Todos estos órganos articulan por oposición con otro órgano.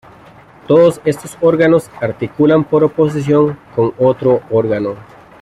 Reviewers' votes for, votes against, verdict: 0, 2, rejected